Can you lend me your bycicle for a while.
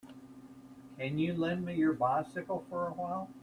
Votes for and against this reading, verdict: 2, 0, accepted